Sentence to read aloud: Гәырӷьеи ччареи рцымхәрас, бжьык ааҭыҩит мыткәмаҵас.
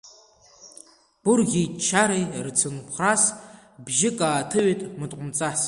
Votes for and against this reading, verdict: 2, 1, accepted